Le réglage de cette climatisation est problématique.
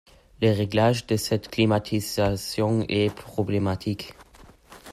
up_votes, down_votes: 0, 2